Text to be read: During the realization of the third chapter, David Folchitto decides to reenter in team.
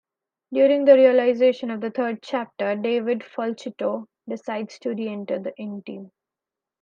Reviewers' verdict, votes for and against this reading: rejected, 1, 2